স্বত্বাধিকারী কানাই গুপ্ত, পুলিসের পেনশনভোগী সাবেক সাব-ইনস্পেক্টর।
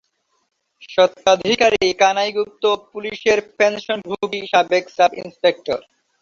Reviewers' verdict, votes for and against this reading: accepted, 2, 0